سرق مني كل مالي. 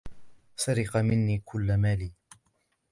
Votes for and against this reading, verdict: 1, 2, rejected